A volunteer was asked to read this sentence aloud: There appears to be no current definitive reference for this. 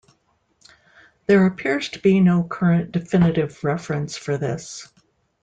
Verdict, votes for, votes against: accepted, 2, 0